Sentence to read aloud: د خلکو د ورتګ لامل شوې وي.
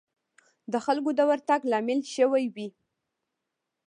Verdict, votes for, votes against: accepted, 2, 0